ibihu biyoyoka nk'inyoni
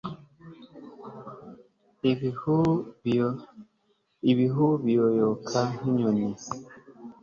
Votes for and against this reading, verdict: 2, 1, accepted